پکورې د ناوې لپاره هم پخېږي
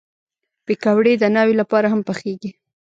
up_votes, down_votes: 1, 2